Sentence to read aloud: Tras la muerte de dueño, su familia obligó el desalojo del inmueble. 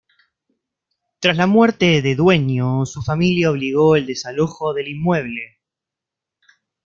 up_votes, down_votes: 2, 0